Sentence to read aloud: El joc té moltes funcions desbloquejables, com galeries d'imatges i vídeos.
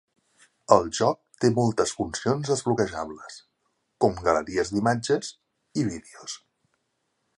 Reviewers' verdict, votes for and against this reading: accepted, 3, 0